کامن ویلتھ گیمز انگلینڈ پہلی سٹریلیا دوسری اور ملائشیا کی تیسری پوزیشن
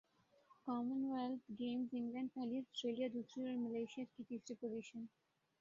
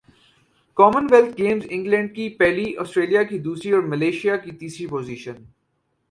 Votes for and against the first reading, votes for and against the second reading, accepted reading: 0, 2, 4, 0, second